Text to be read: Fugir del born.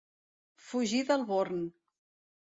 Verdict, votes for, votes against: accepted, 2, 0